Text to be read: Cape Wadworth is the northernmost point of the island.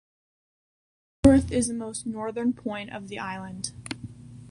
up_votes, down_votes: 1, 2